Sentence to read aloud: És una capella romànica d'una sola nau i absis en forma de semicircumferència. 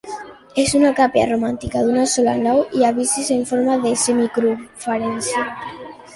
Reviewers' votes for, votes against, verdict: 1, 2, rejected